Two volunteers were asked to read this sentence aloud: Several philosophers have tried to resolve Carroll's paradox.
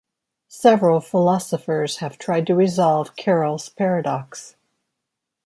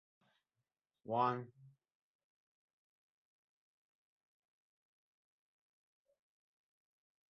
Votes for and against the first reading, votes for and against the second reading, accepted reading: 2, 0, 0, 2, first